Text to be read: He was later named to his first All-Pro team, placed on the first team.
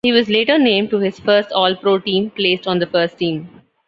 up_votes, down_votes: 1, 2